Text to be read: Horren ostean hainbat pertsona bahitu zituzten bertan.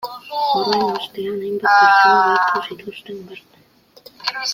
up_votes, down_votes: 0, 2